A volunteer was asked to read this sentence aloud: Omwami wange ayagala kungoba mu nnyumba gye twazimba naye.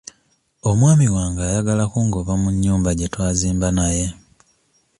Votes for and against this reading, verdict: 2, 0, accepted